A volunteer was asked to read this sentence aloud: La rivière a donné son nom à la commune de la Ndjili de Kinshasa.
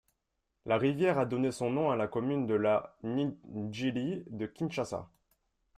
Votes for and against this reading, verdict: 0, 2, rejected